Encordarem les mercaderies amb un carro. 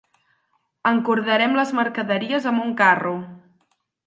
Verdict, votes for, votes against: accepted, 6, 0